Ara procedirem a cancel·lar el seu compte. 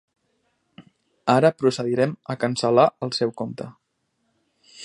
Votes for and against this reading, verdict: 3, 0, accepted